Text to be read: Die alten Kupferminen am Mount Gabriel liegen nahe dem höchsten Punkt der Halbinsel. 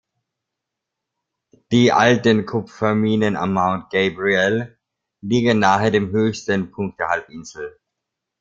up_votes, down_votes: 2, 0